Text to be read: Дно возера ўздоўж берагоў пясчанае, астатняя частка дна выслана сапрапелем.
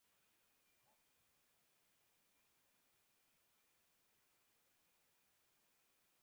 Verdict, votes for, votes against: rejected, 0, 2